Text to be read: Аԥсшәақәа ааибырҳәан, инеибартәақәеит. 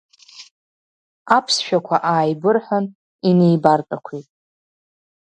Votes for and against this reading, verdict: 2, 0, accepted